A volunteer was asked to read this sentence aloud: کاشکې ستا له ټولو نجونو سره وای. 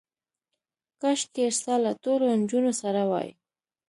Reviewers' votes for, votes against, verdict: 2, 1, accepted